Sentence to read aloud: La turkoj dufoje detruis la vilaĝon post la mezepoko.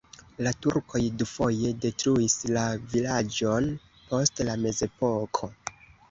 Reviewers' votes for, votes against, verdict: 0, 2, rejected